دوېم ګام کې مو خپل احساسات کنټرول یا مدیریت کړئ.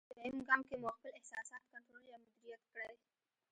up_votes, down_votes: 0, 2